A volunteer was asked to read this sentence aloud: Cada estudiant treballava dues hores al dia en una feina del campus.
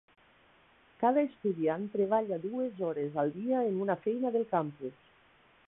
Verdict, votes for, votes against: rejected, 0, 2